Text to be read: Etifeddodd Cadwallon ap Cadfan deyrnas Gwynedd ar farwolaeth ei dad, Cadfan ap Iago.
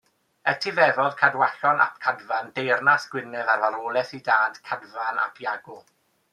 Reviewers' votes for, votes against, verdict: 2, 0, accepted